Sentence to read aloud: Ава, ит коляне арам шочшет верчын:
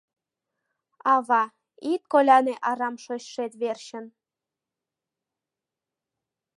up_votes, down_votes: 2, 0